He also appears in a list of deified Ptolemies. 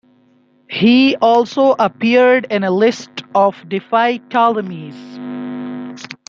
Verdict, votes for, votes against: rejected, 0, 2